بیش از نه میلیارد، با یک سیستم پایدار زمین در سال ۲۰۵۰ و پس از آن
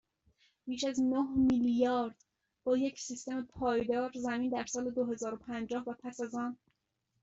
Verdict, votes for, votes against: rejected, 0, 2